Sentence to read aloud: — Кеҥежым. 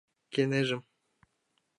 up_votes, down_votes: 1, 2